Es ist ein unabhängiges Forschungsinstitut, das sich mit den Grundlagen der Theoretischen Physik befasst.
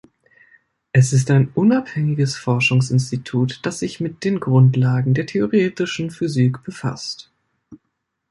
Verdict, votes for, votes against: accepted, 2, 0